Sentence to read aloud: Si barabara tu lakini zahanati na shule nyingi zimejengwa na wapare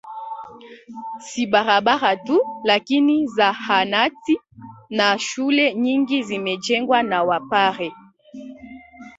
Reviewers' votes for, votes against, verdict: 1, 2, rejected